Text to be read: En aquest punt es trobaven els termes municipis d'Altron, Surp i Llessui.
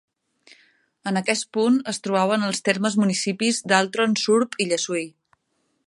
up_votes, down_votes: 2, 1